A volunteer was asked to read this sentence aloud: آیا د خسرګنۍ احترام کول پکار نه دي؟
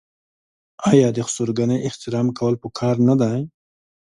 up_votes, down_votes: 2, 0